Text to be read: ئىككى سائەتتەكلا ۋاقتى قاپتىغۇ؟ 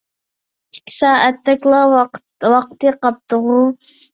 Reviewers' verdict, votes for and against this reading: rejected, 0, 2